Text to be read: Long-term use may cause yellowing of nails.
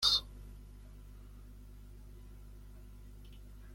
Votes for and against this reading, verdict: 0, 2, rejected